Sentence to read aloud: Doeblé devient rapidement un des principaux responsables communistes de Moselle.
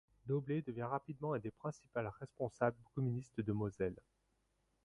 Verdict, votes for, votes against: rejected, 0, 2